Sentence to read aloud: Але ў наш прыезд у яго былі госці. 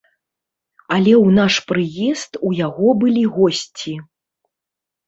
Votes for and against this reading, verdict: 0, 2, rejected